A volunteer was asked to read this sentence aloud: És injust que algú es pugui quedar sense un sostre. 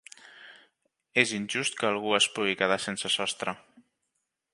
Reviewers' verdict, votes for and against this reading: rejected, 1, 2